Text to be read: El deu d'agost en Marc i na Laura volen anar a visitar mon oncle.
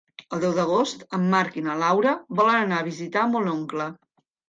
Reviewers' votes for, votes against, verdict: 2, 0, accepted